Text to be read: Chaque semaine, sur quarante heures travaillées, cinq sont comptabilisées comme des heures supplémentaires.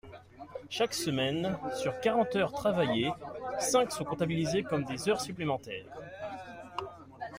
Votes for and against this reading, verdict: 2, 0, accepted